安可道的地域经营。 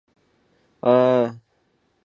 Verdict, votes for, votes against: rejected, 0, 2